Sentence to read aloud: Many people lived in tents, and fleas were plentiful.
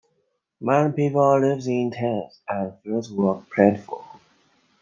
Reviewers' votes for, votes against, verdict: 0, 2, rejected